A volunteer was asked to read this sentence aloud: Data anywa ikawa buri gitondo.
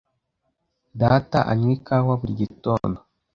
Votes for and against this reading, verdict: 2, 0, accepted